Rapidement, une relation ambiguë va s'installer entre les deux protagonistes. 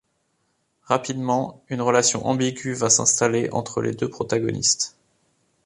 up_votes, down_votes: 2, 1